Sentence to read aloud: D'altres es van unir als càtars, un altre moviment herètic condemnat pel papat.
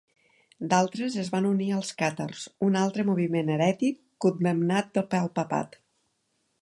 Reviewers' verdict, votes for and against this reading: rejected, 0, 2